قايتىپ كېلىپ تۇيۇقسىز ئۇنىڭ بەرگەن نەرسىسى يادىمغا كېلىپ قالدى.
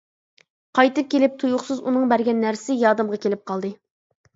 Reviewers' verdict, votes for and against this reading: accepted, 2, 0